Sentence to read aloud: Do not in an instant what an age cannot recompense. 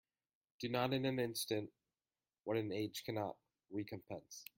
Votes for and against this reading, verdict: 2, 1, accepted